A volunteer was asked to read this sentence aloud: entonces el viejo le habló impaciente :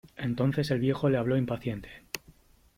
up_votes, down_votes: 2, 0